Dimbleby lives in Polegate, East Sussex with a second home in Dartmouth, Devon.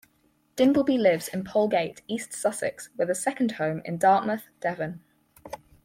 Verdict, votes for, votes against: accepted, 4, 0